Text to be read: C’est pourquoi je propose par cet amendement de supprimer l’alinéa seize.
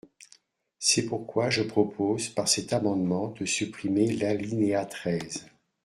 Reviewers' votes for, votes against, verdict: 0, 2, rejected